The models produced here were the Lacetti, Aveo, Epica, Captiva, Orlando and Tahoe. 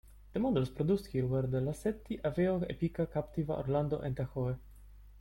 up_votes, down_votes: 0, 2